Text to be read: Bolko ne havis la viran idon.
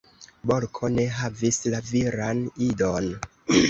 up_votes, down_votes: 0, 2